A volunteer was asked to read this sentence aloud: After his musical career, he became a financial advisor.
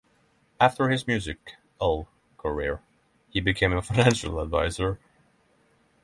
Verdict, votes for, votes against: rejected, 3, 3